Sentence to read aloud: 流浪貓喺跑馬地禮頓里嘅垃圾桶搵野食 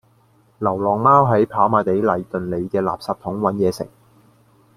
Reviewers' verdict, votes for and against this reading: accepted, 2, 0